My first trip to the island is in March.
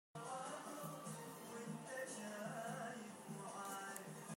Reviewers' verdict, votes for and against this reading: rejected, 0, 2